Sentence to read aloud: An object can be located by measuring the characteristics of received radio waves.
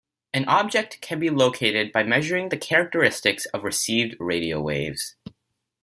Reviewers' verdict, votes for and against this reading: accepted, 2, 1